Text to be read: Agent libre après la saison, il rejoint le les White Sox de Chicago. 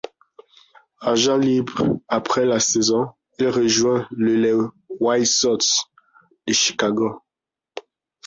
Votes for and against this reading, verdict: 2, 1, accepted